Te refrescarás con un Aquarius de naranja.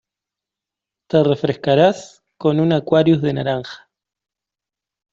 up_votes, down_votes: 2, 0